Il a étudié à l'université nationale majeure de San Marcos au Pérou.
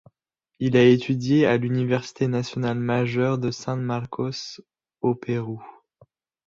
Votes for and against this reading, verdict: 0, 2, rejected